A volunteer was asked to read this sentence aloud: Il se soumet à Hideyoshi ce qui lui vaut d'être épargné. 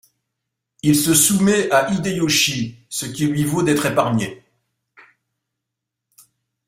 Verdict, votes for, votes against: rejected, 0, 2